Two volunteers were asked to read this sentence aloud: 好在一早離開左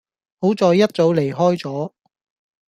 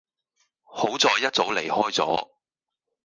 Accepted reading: first